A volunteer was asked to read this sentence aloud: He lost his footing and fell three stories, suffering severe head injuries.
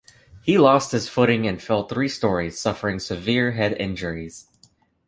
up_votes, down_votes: 3, 1